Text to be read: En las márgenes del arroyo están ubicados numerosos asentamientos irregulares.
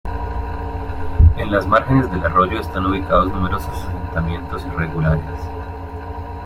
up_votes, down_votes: 2, 1